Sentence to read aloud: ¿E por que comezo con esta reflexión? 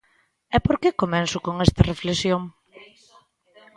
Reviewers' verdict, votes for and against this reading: rejected, 0, 2